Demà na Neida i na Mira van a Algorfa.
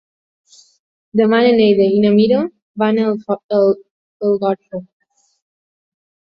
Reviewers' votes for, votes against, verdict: 0, 3, rejected